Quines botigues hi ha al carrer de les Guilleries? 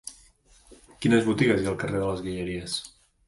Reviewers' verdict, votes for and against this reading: accepted, 2, 0